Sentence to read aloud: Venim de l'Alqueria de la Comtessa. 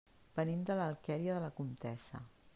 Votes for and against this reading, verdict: 3, 1, accepted